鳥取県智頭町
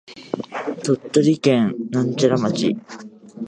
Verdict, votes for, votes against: rejected, 1, 2